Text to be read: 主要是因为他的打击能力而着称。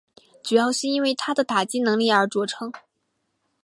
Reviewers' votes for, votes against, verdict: 2, 1, accepted